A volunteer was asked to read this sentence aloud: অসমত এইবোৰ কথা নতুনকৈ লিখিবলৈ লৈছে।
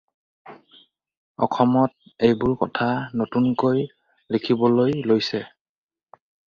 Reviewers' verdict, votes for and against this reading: rejected, 2, 2